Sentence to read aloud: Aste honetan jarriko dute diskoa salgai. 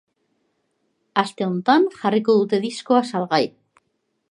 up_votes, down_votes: 1, 2